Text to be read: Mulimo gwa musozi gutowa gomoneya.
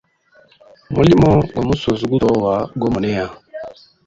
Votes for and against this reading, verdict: 1, 2, rejected